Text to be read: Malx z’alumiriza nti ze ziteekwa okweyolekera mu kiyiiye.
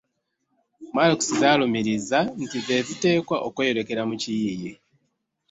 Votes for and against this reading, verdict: 0, 2, rejected